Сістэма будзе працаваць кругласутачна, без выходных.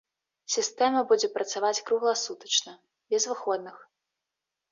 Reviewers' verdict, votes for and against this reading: accepted, 2, 0